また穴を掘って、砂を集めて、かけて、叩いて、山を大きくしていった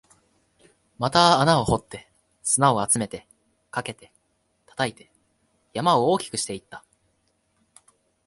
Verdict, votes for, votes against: accepted, 2, 0